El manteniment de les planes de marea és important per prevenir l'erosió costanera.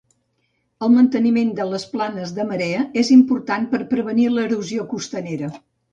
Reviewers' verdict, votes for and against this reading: accepted, 2, 0